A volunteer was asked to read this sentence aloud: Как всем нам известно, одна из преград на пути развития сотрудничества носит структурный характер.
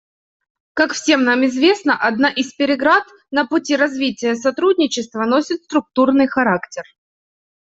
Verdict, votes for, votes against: rejected, 1, 2